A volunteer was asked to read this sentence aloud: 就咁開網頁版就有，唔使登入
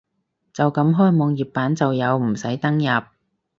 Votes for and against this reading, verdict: 0, 2, rejected